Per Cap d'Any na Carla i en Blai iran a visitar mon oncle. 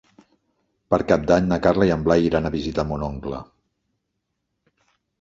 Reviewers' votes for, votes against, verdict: 3, 0, accepted